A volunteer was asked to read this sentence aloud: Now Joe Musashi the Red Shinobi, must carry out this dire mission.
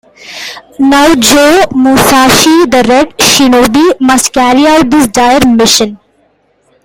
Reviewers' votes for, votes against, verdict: 1, 2, rejected